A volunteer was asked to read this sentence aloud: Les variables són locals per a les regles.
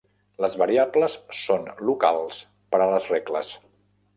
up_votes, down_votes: 1, 2